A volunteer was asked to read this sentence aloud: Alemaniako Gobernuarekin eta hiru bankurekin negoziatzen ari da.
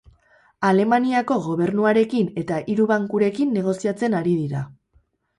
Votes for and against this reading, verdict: 2, 4, rejected